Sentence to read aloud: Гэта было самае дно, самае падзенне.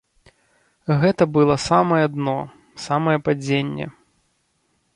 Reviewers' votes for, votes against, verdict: 1, 2, rejected